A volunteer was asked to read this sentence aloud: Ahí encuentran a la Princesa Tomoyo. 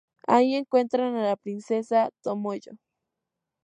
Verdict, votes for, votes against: rejected, 0, 2